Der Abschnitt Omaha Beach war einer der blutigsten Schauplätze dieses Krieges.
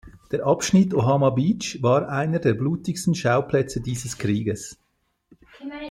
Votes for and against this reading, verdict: 2, 0, accepted